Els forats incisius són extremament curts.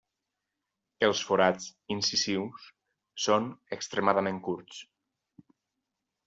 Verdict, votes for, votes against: rejected, 2, 4